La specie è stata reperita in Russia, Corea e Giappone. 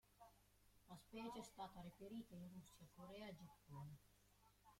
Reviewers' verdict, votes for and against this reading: rejected, 0, 2